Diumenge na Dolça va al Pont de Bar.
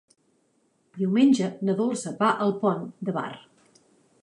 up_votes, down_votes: 3, 0